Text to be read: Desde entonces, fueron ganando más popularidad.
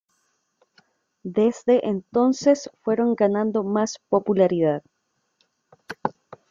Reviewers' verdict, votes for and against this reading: accepted, 2, 0